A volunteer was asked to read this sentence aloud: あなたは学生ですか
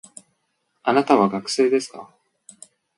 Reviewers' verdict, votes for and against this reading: accepted, 2, 0